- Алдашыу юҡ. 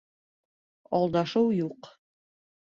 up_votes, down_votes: 2, 0